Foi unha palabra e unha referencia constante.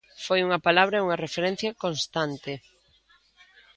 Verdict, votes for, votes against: accepted, 2, 0